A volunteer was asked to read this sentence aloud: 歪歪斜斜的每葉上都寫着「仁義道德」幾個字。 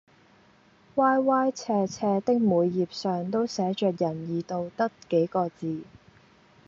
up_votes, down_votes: 2, 0